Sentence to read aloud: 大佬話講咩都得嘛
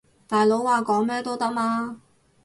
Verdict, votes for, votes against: rejected, 2, 2